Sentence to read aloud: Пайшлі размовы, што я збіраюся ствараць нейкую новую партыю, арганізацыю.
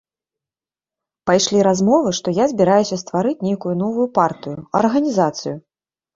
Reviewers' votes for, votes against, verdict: 0, 2, rejected